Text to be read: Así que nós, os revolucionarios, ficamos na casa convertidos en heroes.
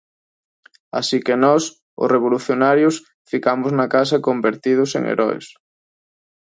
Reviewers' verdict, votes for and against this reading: accepted, 2, 0